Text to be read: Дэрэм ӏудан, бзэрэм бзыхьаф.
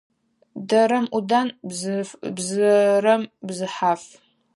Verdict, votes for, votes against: rejected, 0, 4